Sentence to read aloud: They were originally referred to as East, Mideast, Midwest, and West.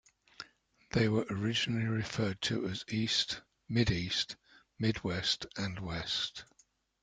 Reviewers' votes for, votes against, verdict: 2, 0, accepted